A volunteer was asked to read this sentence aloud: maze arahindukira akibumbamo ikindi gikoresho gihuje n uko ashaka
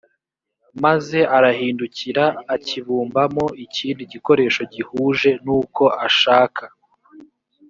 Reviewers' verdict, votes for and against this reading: accepted, 2, 0